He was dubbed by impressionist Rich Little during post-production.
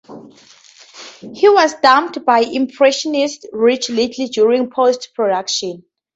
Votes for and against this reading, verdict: 2, 2, rejected